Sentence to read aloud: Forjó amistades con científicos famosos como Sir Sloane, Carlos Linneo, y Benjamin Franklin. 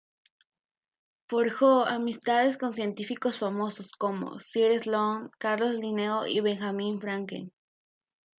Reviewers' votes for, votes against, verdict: 2, 0, accepted